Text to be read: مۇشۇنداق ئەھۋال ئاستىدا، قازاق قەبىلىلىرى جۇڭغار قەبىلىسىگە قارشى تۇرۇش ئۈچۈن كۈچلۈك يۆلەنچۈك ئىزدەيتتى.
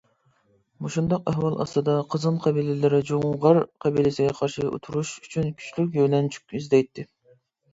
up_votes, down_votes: 0, 2